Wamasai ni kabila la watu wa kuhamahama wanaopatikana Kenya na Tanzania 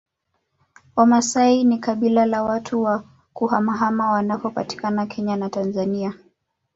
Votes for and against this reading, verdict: 2, 0, accepted